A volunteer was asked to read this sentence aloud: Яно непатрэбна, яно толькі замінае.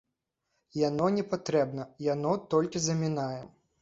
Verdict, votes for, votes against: accepted, 2, 0